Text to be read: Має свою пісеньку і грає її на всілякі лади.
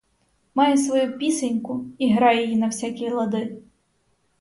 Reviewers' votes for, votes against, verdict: 2, 4, rejected